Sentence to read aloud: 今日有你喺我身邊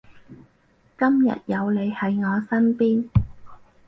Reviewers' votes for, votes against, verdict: 4, 0, accepted